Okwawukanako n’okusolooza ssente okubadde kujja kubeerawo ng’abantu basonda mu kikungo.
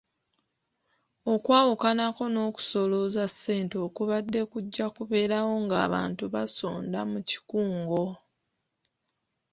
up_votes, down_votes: 2, 0